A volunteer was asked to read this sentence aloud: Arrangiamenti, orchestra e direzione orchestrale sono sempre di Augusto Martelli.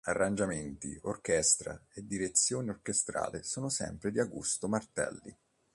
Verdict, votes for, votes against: accepted, 2, 0